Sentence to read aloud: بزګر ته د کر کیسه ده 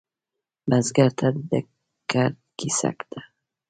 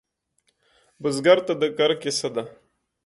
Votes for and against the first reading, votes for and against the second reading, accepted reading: 2, 3, 2, 0, second